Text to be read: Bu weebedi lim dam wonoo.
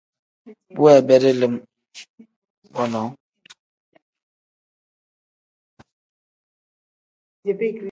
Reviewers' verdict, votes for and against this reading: rejected, 0, 2